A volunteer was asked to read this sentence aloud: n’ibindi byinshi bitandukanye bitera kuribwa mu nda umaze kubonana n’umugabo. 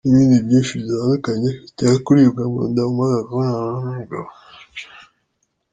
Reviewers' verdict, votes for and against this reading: rejected, 3, 4